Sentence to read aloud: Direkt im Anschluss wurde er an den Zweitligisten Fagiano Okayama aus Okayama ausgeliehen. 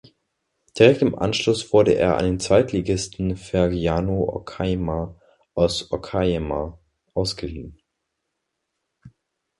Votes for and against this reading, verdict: 0, 2, rejected